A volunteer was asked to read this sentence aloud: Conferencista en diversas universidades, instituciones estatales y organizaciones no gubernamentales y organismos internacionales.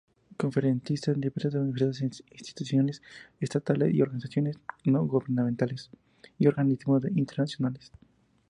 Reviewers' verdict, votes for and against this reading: accepted, 2, 0